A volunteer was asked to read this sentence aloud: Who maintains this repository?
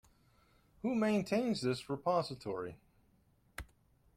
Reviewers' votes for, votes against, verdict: 2, 0, accepted